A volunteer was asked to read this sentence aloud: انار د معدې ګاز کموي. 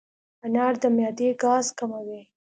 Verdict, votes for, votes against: accepted, 3, 0